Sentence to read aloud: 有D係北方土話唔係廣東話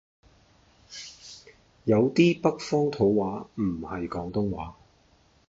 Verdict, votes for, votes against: rejected, 1, 2